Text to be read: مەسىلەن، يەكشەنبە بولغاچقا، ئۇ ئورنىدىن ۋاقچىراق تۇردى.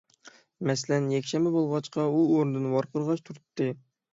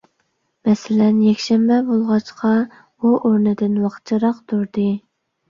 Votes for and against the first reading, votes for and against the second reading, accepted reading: 0, 6, 2, 0, second